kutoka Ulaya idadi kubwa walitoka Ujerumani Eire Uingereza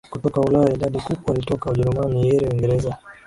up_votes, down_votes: 0, 2